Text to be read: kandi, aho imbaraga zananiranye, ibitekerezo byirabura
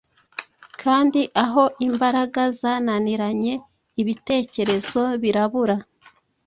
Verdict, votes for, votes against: rejected, 1, 2